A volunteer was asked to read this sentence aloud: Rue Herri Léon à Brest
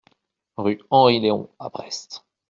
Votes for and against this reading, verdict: 1, 2, rejected